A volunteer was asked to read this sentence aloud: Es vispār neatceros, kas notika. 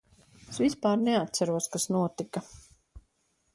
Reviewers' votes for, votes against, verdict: 2, 0, accepted